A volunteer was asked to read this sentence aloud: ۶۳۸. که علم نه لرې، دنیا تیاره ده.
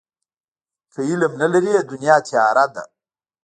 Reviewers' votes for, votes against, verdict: 0, 2, rejected